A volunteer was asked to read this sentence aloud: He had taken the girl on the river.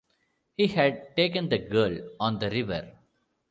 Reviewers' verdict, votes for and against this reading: accepted, 2, 0